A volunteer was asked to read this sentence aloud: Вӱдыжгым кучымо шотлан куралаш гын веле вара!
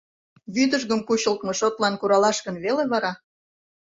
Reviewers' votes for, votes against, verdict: 0, 2, rejected